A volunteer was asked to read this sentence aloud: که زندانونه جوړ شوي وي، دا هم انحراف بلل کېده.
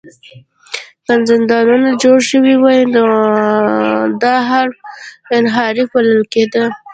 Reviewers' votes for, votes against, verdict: 0, 2, rejected